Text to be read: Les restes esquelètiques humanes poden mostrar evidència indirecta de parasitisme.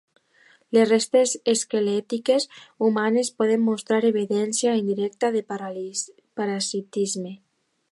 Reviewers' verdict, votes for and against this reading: rejected, 0, 2